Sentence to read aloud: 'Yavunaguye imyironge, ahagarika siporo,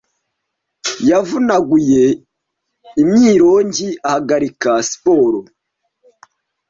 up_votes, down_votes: 2, 0